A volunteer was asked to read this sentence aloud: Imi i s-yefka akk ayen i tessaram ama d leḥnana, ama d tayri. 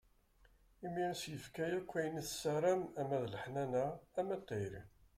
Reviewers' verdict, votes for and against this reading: accepted, 2, 0